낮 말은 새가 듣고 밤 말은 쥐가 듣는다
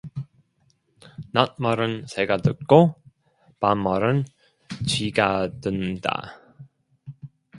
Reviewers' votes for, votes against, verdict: 2, 0, accepted